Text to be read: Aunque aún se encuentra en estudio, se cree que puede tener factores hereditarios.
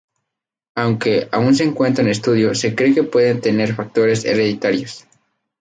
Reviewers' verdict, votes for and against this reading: rejected, 0, 2